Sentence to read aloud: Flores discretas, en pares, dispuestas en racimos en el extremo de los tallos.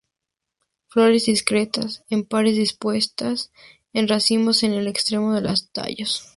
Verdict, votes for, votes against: rejected, 2, 2